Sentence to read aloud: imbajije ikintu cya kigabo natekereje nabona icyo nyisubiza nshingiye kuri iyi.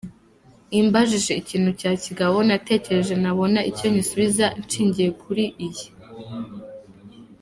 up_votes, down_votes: 2, 0